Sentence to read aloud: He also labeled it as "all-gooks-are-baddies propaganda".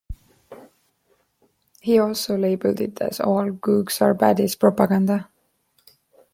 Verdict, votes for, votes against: rejected, 0, 2